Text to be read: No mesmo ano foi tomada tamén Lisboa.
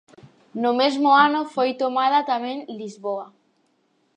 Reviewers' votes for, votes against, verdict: 4, 0, accepted